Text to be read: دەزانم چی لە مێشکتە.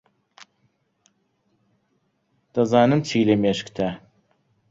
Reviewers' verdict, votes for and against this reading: accepted, 2, 0